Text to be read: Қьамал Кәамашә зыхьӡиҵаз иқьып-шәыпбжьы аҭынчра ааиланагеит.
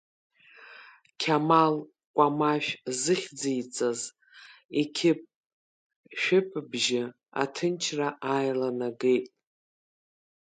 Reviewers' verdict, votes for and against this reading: accepted, 2, 1